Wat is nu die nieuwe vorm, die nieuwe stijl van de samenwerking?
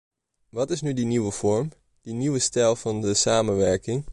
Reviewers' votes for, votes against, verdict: 2, 0, accepted